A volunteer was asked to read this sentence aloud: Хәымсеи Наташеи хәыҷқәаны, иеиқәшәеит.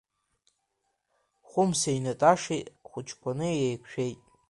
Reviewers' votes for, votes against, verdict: 2, 0, accepted